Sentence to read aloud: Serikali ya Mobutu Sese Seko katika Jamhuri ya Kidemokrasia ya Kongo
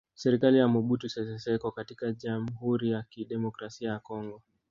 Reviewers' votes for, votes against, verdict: 1, 2, rejected